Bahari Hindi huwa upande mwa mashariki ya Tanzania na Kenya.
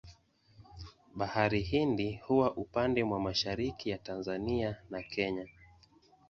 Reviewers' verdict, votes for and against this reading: rejected, 0, 2